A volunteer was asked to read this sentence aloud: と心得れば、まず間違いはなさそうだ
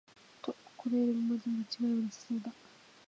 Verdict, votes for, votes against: rejected, 1, 2